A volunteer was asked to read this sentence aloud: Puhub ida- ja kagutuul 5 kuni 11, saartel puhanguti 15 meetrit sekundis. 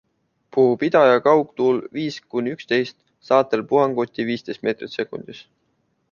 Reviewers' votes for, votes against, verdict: 0, 2, rejected